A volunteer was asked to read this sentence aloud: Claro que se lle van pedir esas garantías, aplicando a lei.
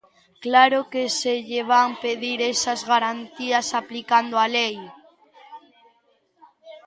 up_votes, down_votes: 1, 2